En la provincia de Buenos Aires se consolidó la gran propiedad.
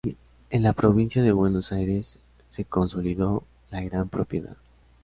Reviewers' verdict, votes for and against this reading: accepted, 2, 0